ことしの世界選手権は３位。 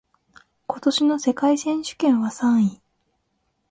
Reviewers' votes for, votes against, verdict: 0, 2, rejected